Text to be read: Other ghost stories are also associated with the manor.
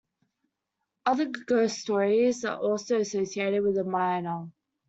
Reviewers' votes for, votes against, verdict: 0, 2, rejected